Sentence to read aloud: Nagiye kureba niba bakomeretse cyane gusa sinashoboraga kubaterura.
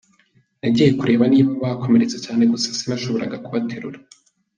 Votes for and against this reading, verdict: 2, 0, accepted